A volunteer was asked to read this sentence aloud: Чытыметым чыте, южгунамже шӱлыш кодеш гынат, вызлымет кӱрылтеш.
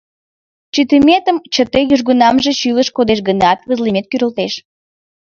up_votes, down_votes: 2, 0